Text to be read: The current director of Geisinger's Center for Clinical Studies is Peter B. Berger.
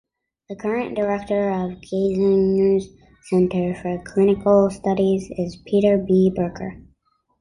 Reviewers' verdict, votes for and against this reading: accepted, 2, 0